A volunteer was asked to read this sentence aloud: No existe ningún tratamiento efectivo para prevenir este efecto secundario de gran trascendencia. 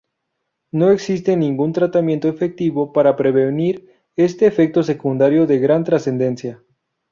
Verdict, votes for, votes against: accepted, 2, 0